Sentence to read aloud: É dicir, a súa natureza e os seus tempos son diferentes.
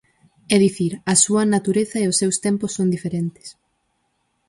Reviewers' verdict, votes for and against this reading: accepted, 4, 0